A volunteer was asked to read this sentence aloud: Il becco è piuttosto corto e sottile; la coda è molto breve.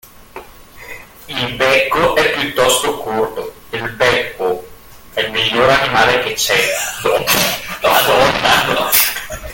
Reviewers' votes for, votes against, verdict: 0, 2, rejected